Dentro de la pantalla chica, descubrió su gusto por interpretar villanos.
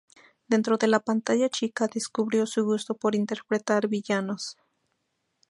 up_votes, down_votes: 2, 0